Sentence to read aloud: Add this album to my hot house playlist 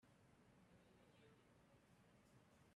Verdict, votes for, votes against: rejected, 0, 2